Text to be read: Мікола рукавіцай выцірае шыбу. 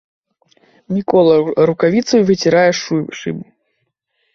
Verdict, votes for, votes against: rejected, 1, 2